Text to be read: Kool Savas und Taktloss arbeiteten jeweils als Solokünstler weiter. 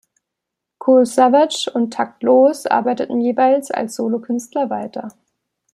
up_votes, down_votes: 1, 2